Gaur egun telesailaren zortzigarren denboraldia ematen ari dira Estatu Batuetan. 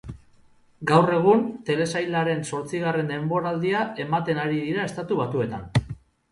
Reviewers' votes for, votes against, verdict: 4, 0, accepted